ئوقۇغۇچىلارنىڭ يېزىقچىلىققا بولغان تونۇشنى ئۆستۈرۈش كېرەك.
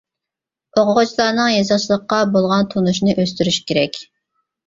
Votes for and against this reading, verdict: 0, 2, rejected